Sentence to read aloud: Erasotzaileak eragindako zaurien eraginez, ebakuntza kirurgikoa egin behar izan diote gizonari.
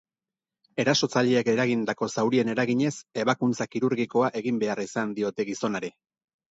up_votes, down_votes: 6, 0